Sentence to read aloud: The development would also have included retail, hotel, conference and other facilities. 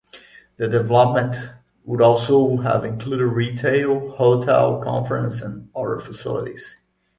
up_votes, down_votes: 2, 0